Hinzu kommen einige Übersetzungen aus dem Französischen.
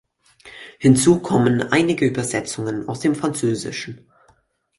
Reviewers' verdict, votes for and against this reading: accepted, 4, 0